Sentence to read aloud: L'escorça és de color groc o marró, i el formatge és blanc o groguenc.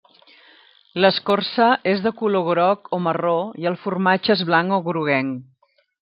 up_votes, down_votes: 3, 0